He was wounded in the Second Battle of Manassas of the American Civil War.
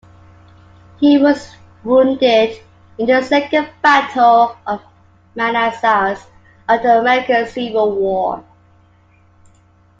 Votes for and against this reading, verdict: 2, 1, accepted